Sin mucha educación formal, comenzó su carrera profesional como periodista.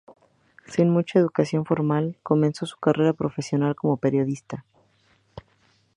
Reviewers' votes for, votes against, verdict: 2, 0, accepted